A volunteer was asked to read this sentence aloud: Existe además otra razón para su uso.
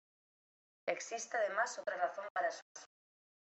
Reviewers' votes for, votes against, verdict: 2, 0, accepted